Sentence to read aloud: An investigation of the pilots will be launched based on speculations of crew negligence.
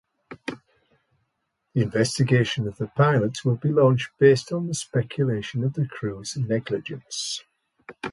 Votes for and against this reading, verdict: 2, 1, accepted